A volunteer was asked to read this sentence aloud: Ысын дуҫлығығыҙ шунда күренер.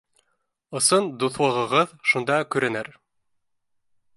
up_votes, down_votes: 2, 0